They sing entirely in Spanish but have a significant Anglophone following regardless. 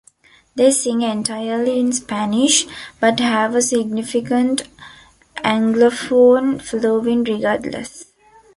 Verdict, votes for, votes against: rejected, 0, 2